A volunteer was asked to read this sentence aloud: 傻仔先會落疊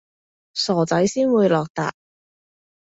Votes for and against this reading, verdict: 2, 0, accepted